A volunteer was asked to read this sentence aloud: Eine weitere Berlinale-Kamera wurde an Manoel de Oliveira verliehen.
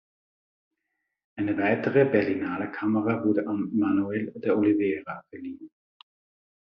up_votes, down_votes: 2, 0